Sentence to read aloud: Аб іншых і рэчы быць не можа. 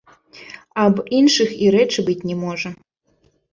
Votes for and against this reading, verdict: 2, 1, accepted